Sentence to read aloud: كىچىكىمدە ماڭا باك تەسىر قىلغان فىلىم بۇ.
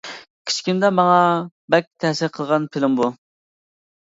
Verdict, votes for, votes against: accepted, 2, 1